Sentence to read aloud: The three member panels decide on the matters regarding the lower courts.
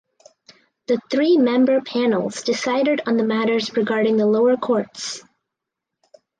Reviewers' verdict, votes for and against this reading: rejected, 0, 4